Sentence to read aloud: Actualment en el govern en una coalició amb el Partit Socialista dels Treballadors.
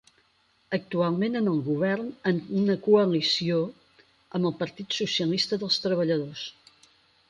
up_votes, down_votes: 4, 0